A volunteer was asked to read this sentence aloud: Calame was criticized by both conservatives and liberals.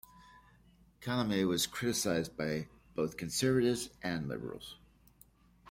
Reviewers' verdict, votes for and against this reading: accepted, 2, 0